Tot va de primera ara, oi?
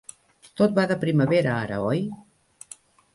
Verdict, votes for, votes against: rejected, 0, 2